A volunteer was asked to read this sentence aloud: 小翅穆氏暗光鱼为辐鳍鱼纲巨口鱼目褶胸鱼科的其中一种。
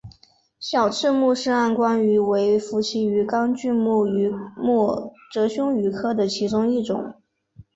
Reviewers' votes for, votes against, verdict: 2, 0, accepted